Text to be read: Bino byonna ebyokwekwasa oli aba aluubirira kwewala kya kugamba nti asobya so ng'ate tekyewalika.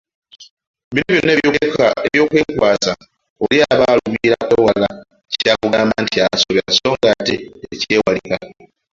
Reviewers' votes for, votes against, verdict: 1, 2, rejected